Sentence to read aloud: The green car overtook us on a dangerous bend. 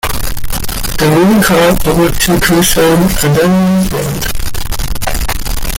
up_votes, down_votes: 0, 2